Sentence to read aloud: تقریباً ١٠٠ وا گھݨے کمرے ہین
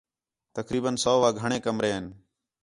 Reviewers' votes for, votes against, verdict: 0, 2, rejected